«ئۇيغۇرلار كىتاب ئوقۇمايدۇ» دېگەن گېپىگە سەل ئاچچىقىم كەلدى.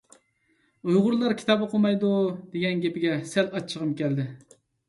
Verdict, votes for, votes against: accepted, 2, 0